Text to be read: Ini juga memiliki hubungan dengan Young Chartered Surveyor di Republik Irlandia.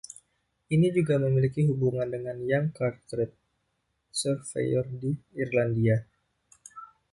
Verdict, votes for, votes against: rejected, 0, 2